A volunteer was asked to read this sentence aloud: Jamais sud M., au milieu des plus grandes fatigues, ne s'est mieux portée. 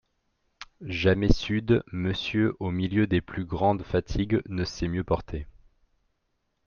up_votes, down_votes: 0, 2